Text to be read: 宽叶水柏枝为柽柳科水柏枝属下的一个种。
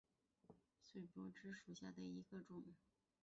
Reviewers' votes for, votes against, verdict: 0, 2, rejected